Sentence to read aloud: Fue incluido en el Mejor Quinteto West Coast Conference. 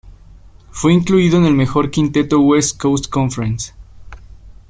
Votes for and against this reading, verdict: 2, 0, accepted